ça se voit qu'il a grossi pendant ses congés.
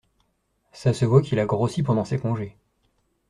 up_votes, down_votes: 2, 0